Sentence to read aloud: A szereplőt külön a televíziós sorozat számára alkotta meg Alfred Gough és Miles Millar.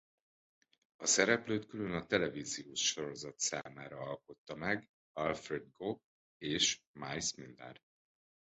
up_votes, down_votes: 0, 2